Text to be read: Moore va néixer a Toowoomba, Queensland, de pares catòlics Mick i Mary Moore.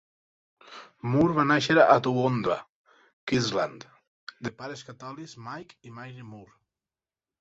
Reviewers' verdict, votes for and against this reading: rejected, 0, 4